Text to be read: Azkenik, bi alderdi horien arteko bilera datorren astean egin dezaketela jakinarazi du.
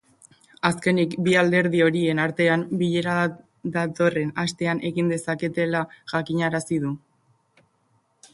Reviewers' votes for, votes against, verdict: 0, 2, rejected